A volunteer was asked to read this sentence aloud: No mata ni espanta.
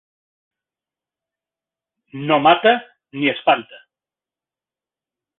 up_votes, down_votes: 2, 0